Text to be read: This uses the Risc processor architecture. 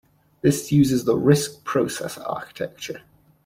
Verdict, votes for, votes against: accepted, 2, 0